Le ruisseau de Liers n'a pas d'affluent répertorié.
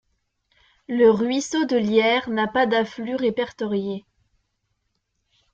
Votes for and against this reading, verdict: 0, 2, rejected